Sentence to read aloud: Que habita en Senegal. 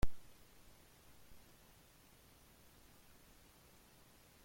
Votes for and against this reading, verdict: 0, 2, rejected